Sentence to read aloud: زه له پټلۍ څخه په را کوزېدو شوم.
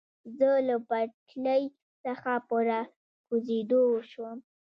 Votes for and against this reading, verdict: 0, 3, rejected